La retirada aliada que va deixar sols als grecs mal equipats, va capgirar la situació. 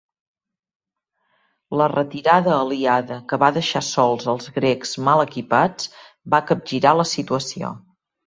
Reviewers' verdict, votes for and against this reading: accepted, 2, 0